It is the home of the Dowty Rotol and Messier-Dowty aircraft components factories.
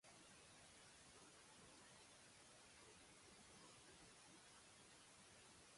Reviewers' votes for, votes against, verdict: 0, 2, rejected